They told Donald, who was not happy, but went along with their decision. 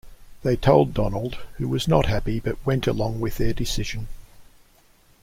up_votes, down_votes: 2, 0